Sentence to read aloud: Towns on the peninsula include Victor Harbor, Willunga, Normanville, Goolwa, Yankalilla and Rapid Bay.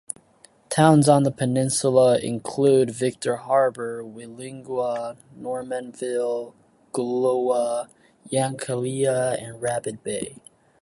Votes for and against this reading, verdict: 0, 2, rejected